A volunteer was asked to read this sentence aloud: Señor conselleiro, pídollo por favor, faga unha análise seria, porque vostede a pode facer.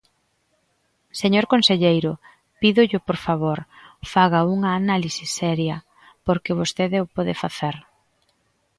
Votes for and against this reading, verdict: 0, 2, rejected